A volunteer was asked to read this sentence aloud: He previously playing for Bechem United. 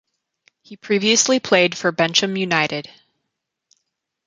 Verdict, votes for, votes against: rejected, 0, 2